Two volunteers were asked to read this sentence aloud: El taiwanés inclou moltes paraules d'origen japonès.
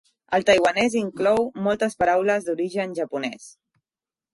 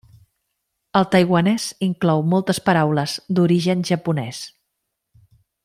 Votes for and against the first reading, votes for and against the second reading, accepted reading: 1, 2, 2, 0, second